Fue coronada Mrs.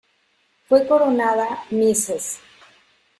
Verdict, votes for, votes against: rejected, 0, 2